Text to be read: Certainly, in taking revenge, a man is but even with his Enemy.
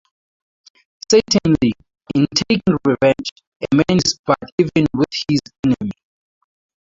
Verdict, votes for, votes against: rejected, 0, 4